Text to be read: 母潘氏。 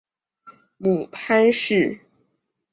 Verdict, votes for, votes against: accepted, 2, 0